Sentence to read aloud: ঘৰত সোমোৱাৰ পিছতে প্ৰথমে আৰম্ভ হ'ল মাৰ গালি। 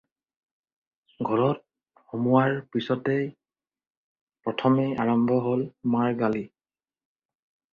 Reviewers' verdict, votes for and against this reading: accepted, 4, 0